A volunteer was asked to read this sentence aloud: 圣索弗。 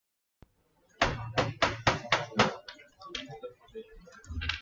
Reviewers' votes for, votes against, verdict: 0, 2, rejected